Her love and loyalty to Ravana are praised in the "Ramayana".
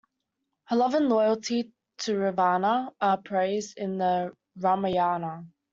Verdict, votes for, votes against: accepted, 2, 0